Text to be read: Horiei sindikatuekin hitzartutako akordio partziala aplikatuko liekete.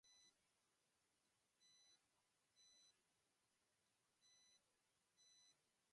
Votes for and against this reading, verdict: 0, 5, rejected